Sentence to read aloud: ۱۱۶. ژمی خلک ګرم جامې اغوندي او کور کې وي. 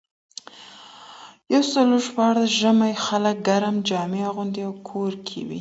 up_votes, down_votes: 0, 2